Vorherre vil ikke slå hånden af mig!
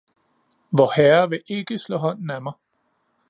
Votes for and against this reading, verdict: 2, 0, accepted